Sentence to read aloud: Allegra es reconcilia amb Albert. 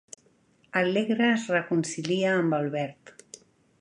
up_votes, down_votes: 2, 0